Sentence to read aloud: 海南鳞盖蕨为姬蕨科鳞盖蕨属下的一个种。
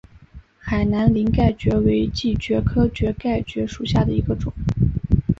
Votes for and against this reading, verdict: 0, 2, rejected